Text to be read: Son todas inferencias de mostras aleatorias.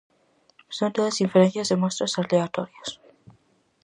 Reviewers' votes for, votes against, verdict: 4, 0, accepted